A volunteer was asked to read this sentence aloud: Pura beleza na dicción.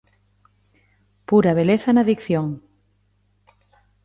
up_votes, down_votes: 2, 0